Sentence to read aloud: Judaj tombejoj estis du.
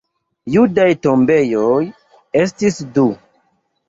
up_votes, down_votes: 2, 0